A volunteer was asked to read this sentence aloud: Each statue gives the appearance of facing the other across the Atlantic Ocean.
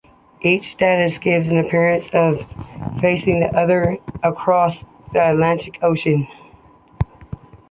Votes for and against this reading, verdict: 2, 0, accepted